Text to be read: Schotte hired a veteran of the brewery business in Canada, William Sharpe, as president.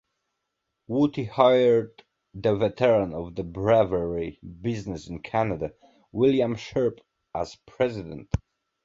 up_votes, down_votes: 2, 1